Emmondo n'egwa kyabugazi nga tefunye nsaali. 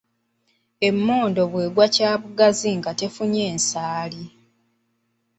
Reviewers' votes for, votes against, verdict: 0, 3, rejected